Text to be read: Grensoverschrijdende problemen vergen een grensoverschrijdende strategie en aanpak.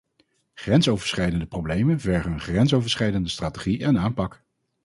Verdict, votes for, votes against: accepted, 4, 0